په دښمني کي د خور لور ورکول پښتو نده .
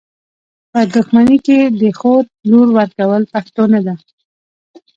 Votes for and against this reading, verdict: 2, 0, accepted